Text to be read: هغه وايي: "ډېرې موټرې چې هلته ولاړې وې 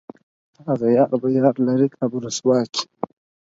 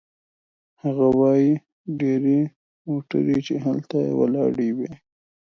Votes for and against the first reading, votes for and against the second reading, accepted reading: 2, 4, 2, 0, second